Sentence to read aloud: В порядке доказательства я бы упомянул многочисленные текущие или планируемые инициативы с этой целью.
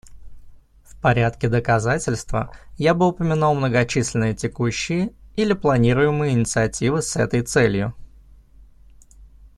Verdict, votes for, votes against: accepted, 2, 0